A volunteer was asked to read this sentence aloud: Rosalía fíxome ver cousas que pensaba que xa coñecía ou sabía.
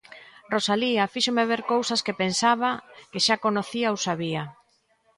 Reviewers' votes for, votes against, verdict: 0, 2, rejected